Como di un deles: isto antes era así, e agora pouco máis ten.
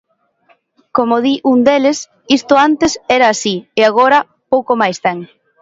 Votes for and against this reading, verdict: 2, 0, accepted